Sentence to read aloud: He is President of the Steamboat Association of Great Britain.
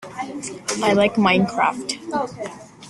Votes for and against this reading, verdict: 0, 2, rejected